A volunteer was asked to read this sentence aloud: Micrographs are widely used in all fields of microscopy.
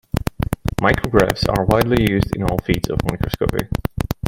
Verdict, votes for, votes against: rejected, 1, 2